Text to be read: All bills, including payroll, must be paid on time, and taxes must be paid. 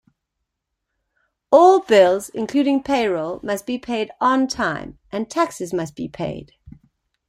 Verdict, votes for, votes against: accepted, 2, 0